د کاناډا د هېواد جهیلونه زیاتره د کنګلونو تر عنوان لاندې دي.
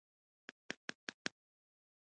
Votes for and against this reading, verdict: 1, 2, rejected